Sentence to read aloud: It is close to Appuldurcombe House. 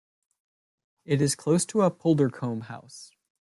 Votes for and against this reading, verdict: 2, 0, accepted